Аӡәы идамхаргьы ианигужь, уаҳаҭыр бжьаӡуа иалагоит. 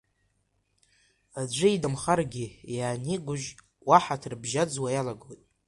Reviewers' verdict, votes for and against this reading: rejected, 1, 2